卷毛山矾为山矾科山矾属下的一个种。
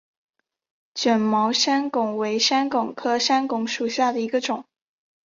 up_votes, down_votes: 6, 0